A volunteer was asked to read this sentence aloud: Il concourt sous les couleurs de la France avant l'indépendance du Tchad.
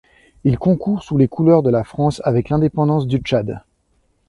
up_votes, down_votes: 0, 2